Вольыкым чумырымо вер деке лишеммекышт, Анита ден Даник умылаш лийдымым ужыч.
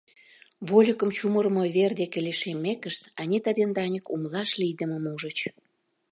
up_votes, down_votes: 2, 0